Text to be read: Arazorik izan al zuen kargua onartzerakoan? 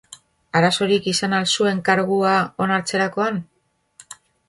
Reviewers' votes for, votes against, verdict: 2, 0, accepted